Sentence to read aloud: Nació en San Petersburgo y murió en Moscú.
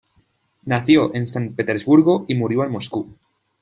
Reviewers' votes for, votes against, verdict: 2, 0, accepted